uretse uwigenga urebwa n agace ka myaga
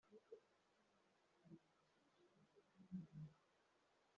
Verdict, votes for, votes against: rejected, 0, 2